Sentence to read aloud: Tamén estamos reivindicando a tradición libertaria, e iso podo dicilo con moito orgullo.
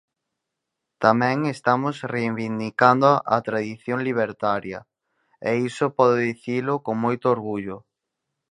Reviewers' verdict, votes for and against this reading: rejected, 2, 4